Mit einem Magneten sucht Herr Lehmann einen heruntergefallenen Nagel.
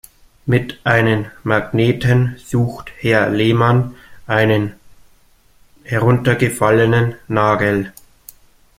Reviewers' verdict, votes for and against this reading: rejected, 1, 2